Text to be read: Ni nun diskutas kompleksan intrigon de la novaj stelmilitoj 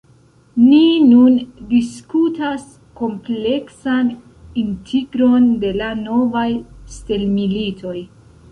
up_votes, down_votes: 1, 2